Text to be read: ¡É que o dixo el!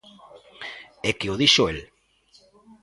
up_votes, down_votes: 2, 0